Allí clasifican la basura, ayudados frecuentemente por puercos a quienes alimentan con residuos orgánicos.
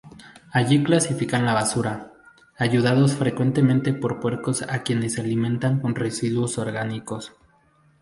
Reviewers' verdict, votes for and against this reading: accepted, 2, 0